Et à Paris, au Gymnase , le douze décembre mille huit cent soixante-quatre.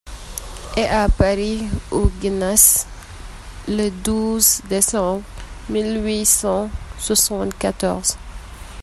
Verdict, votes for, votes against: rejected, 0, 2